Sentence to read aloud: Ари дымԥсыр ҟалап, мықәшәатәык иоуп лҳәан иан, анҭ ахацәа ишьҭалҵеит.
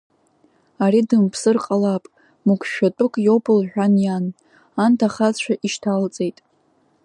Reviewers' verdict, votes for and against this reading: rejected, 0, 2